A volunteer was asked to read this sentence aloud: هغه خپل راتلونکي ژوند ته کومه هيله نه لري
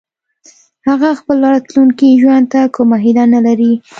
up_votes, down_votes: 2, 0